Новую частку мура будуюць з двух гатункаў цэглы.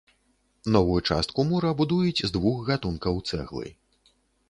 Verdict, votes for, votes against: accepted, 2, 0